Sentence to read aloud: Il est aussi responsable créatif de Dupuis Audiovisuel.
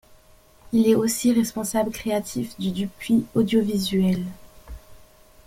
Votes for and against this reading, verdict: 0, 2, rejected